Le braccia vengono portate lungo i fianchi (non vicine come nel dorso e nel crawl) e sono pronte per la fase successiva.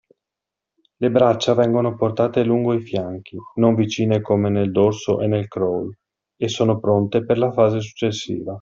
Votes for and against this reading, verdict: 2, 0, accepted